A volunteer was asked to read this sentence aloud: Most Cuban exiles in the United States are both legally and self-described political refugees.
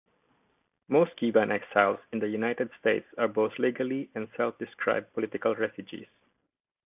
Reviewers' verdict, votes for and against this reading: accepted, 2, 0